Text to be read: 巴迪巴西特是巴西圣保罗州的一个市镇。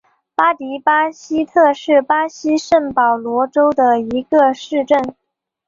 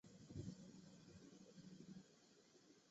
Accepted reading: first